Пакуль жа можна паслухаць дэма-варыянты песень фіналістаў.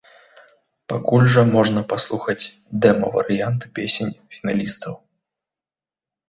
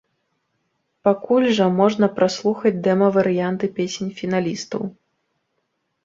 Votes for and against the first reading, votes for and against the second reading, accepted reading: 2, 0, 0, 2, first